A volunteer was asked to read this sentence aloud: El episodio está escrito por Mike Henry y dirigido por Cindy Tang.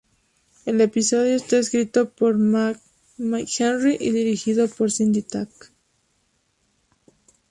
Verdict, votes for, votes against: rejected, 2, 2